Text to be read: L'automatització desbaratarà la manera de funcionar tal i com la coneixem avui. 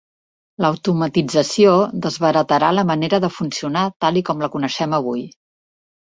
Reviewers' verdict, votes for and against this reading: accepted, 2, 0